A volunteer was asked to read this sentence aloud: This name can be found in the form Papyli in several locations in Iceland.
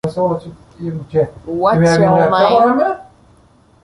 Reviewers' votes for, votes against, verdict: 0, 2, rejected